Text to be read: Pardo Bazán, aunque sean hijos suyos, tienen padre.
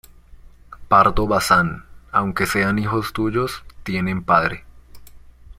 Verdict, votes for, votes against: rejected, 0, 2